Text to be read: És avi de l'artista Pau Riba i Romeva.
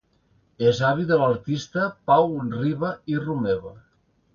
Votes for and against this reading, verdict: 2, 0, accepted